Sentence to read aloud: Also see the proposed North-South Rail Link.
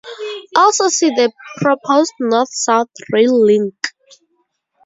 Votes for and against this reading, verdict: 2, 0, accepted